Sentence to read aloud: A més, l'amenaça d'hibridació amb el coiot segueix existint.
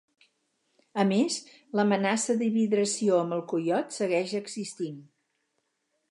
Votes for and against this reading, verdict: 2, 4, rejected